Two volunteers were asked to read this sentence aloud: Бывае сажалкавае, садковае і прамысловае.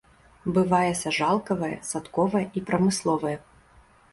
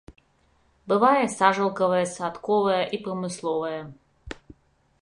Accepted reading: second